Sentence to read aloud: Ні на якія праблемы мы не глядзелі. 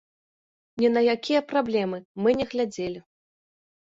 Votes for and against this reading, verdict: 2, 0, accepted